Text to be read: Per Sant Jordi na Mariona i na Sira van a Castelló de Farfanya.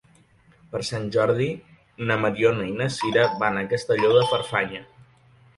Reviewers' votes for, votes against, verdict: 1, 2, rejected